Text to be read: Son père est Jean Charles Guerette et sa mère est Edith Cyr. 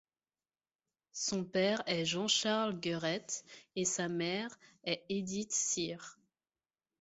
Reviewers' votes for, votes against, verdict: 2, 0, accepted